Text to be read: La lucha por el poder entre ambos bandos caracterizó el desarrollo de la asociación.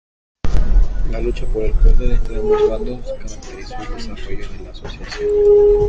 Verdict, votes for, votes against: rejected, 0, 2